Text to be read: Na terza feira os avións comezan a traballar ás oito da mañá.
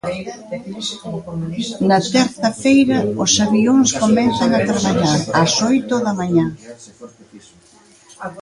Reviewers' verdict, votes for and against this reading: accepted, 2, 0